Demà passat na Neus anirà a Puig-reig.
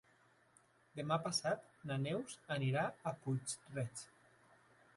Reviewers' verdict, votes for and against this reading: accepted, 3, 0